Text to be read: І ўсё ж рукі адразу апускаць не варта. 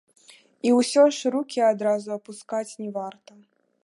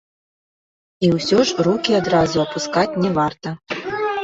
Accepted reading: first